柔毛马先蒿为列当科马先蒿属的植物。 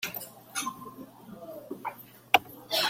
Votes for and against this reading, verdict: 0, 2, rejected